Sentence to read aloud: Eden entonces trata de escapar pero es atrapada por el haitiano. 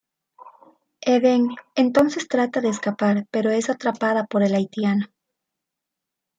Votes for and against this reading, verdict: 2, 0, accepted